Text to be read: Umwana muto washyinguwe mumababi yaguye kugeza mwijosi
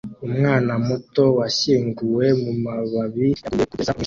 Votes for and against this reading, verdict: 0, 2, rejected